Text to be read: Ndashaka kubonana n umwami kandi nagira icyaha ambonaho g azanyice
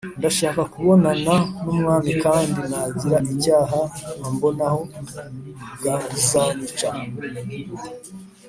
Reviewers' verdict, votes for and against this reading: rejected, 1, 2